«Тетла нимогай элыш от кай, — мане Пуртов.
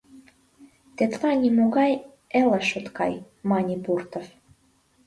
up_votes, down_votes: 2, 0